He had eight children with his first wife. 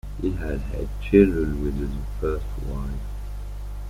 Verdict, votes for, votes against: rejected, 0, 2